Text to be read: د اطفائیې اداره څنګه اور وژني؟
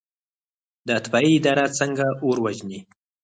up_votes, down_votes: 4, 0